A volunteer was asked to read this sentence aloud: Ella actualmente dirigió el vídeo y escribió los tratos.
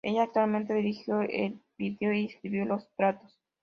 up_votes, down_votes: 0, 2